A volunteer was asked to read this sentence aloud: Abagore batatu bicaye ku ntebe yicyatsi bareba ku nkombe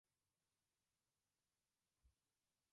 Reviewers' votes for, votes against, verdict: 0, 2, rejected